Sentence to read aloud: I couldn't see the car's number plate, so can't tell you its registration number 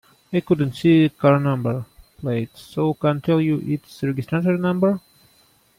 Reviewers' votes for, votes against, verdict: 0, 2, rejected